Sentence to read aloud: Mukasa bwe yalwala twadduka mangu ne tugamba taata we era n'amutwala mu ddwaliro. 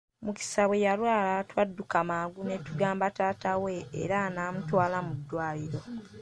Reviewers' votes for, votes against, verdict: 1, 2, rejected